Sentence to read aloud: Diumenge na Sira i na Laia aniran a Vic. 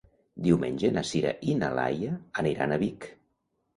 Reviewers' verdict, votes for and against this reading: accepted, 2, 0